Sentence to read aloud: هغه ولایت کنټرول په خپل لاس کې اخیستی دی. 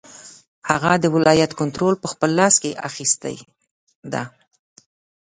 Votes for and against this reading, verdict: 0, 2, rejected